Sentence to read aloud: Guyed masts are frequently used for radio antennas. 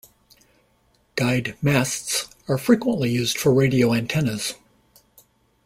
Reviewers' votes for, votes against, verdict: 2, 0, accepted